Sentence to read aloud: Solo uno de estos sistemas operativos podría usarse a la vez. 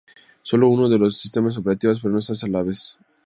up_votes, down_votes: 0, 2